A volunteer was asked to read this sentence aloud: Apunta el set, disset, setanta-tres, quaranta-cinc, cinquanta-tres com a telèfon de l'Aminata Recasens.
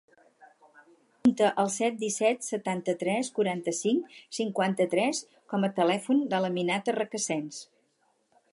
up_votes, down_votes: 0, 4